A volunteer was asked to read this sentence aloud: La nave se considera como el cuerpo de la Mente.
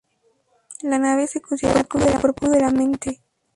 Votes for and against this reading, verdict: 0, 2, rejected